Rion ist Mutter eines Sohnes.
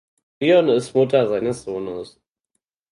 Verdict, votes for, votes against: rejected, 2, 4